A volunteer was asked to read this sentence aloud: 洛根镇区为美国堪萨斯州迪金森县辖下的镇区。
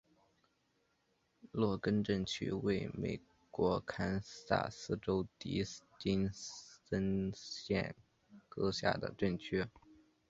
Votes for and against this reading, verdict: 0, 2, rejected